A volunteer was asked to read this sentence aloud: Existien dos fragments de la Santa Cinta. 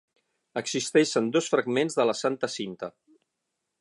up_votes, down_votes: 3, 6